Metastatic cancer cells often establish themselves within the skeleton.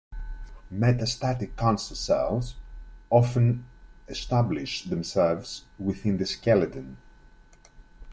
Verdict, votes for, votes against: accepted, 2, 0